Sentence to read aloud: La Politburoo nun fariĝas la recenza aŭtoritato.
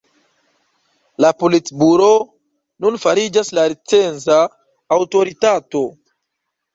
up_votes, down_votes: 1, 2